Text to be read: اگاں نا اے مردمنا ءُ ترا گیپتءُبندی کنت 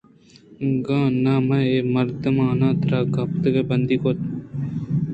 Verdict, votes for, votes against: rejected, 0, 2